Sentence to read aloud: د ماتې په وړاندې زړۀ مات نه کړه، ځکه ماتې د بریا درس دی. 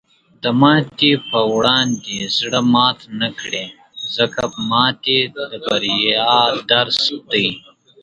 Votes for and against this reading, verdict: 0, 2, rejected